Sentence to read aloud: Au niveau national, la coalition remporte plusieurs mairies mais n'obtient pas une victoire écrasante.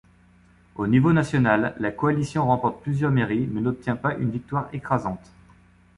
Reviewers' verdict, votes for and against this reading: accepted, 2, 0